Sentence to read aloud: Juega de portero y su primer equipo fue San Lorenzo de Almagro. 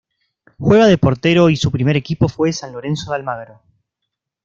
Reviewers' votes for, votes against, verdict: 2, 1, accepted